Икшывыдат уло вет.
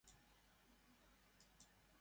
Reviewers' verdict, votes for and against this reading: rejected, 0, 2